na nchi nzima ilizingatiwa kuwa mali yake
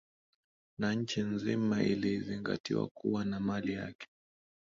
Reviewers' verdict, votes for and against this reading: rejected, 4, 5